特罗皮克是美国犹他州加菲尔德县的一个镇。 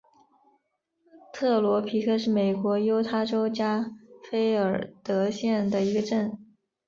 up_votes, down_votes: 3, 0